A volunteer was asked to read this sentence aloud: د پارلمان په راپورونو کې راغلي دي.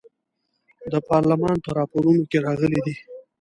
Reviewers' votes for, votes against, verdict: 1, 2, rejected